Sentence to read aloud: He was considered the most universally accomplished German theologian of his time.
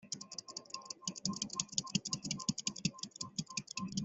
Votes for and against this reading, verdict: 0, 2, rejected